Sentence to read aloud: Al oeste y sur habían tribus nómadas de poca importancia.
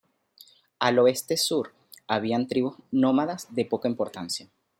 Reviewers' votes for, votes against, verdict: 0, 2, rejected